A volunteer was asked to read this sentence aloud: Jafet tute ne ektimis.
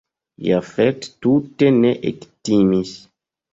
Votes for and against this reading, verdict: 0, 2, rejected